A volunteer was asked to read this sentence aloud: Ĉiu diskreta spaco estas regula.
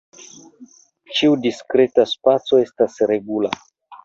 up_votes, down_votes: 1, 2